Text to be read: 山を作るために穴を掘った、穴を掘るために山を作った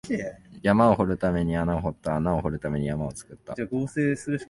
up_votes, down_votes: 1, 2